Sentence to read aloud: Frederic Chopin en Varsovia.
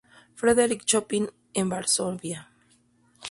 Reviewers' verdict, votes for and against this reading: rejected, 0, 2